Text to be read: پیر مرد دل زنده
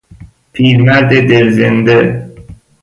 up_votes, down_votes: 1, 2